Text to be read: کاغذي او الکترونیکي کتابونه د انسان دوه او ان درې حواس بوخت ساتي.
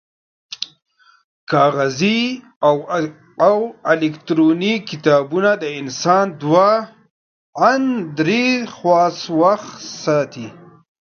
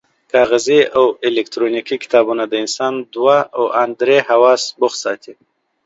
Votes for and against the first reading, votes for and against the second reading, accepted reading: 0, 2, 2, 0, second